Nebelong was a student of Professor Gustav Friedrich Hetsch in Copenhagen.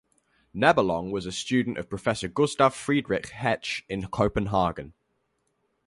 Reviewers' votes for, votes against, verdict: 4, 0, accepted